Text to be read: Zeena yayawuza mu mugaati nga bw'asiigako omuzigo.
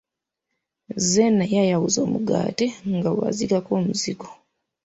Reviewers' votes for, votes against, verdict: 0, 2, rejected